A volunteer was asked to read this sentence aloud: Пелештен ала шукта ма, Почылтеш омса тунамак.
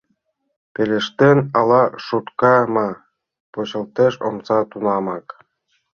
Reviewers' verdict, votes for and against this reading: rejected, 1, 2